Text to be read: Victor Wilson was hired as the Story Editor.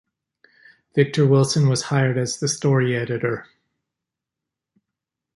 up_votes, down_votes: 2, 0